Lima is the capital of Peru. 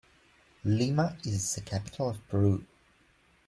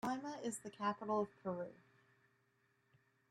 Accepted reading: first